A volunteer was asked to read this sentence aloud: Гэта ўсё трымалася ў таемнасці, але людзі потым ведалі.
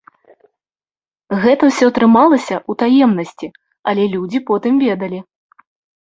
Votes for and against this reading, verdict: 2, 0, accepted